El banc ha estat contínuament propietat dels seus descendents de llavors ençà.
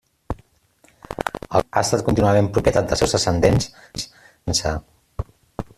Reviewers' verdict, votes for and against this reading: rejected, 0, 2